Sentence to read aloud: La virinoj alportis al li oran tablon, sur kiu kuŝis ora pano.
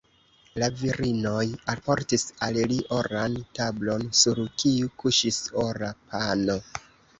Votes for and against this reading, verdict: 2, 0, accepted